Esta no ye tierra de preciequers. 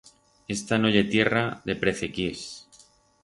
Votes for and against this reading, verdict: 2, 4, rejected